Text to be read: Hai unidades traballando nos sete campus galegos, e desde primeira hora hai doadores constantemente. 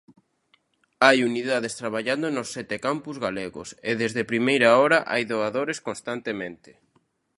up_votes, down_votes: 2, 0